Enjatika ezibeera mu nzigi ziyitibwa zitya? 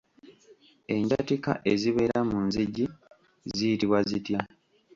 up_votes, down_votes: 1, 2